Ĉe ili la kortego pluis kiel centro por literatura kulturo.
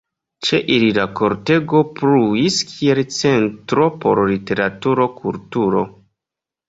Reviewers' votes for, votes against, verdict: 2, 1, accepted